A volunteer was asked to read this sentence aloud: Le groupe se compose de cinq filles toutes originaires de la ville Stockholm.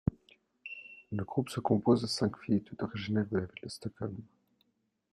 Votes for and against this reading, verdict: 2, 0, accepted